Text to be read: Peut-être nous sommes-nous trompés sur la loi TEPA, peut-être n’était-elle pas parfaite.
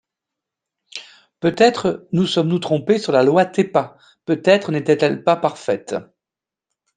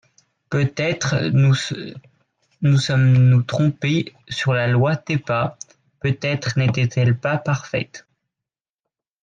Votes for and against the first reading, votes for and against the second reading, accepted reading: 2, 0, 0, 3, first